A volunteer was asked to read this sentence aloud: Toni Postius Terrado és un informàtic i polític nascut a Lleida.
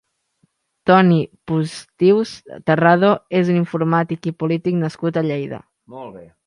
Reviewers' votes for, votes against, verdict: 1, 3, rejected